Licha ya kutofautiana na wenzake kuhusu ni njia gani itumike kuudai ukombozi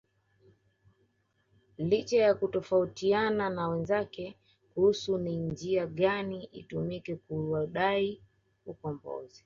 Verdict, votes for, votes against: accepted, 2, 1